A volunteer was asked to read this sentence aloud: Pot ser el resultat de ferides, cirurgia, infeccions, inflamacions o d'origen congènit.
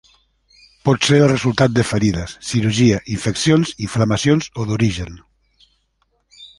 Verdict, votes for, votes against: rejected, 0, 2